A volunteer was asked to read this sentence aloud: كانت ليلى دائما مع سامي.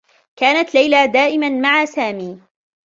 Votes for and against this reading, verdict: 3, 0, accepted